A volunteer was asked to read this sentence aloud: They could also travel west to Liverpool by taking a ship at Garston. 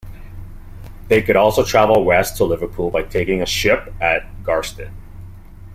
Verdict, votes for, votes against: accepted, 2, 0